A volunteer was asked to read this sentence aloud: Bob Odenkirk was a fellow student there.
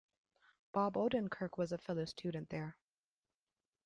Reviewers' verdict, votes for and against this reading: rejected, 0, 2